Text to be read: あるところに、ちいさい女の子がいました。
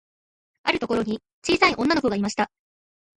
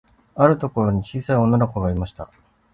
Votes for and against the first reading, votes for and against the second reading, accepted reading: 1, 2, 2, 0, second